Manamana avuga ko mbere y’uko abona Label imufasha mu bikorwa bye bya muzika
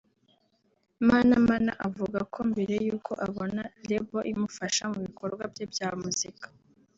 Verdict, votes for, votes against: accepted, 2, 0